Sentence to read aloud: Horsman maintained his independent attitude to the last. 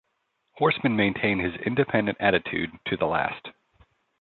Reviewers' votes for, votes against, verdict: 2, 0, accepted